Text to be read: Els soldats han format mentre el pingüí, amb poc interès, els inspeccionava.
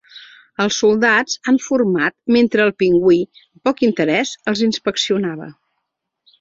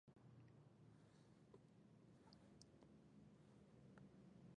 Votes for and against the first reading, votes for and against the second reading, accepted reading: 2, 0, 1, 3, first